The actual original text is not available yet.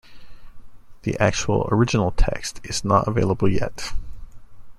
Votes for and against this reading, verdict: 2, 0, accepted